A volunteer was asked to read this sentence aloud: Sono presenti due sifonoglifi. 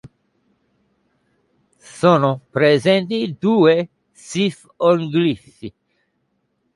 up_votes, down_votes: 0, 2